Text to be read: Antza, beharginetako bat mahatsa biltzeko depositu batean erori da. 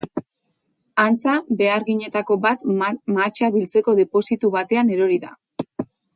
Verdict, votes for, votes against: rejected, 2, 4